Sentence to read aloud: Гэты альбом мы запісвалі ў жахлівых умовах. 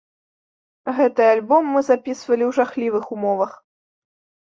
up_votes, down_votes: 3, 0